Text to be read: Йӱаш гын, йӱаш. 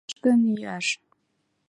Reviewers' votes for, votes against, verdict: 1, 2, rejected